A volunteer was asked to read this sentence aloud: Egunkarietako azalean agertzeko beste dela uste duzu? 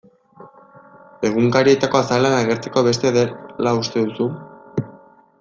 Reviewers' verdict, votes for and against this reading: rejected, 1, 2